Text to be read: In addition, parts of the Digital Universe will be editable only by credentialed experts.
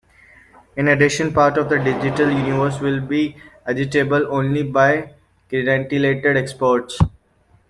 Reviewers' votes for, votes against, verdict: 0, 2, rejected